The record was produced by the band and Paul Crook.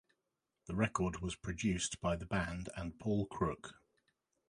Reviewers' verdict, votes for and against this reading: accepted, 2, 1